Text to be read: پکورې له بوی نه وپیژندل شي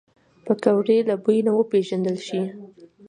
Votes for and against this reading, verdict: 2, 0, accepted